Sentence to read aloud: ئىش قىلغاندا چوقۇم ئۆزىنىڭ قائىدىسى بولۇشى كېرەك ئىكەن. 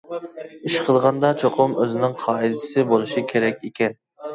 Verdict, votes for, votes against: accepted, 2, 0